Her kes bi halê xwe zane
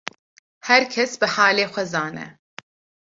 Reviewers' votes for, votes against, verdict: 2, 0, accepted